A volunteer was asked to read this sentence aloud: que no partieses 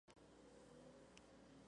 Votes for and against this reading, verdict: 0, 2, rejected